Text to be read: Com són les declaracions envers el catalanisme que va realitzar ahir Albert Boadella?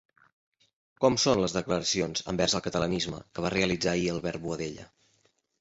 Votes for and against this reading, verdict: 2, 0, accepted